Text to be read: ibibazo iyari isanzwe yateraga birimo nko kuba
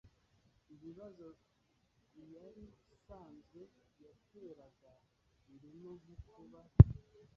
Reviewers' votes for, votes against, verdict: 0, 2, rejected